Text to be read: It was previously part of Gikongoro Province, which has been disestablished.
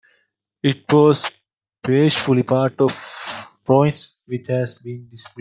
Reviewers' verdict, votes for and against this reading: rejected, 0, 2